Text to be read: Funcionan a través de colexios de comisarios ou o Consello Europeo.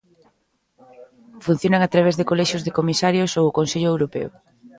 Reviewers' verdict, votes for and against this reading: accepted, 2, 0